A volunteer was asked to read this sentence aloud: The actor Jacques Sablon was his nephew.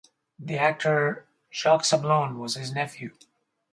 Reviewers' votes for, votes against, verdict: 4, 0, accepted